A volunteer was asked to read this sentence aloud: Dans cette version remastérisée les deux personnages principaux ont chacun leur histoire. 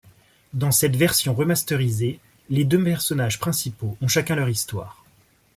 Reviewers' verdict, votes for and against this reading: rejected, 1, 2